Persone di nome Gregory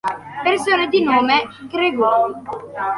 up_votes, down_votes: 1, 2